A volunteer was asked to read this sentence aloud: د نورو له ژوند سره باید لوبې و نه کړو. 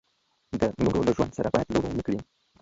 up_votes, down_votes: 1, 2